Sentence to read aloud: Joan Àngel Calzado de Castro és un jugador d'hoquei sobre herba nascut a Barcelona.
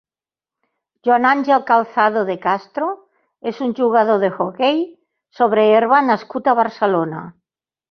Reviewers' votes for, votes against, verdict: 2, 3, rejected